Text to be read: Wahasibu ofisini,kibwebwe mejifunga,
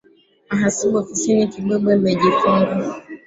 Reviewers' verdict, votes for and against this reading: rejected, 1, 2